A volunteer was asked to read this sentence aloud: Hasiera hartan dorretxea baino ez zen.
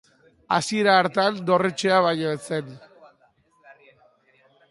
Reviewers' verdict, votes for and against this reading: accepted, 2, 1